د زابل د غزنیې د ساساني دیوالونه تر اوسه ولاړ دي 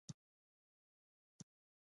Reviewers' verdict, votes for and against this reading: rejected, 0, 2